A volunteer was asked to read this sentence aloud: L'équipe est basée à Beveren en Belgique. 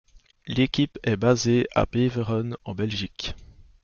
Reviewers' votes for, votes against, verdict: 2, 0, accepted